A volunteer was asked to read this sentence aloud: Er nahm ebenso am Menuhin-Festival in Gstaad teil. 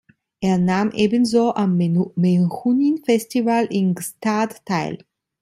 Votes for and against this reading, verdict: 0, 2, rejected